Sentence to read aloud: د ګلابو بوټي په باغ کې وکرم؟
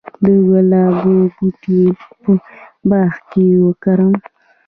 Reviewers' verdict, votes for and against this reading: accepted, 2, 0